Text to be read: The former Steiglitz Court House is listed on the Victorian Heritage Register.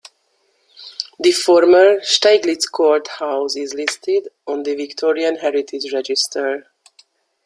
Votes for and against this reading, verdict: 2, 0, accepted